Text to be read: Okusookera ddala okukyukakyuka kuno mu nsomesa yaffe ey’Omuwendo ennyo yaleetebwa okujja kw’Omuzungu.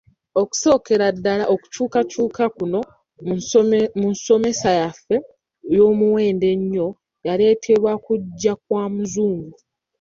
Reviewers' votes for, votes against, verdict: 1, 2, rejected